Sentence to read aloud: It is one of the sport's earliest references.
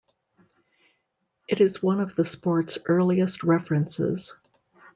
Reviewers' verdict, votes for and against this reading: accepted, 2, 0